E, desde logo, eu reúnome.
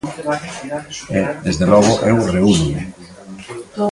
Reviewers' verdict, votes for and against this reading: rejected, 1, 2